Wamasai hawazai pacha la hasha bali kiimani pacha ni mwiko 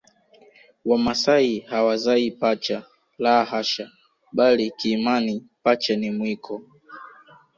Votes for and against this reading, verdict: 1, 2, rejected